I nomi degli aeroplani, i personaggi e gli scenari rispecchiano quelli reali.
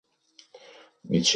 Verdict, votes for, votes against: rejected, 0, 3